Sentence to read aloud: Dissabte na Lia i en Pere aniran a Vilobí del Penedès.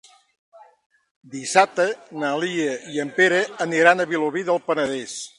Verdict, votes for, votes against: accepted, 3, 0